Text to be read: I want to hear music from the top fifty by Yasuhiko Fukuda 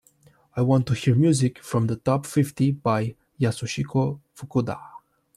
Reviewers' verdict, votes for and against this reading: accepted, 2, 0